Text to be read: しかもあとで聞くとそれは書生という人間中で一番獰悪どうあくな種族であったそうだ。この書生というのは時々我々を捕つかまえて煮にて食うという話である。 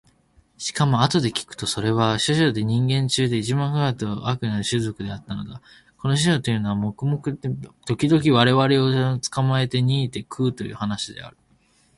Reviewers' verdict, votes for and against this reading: accepted, 2, 1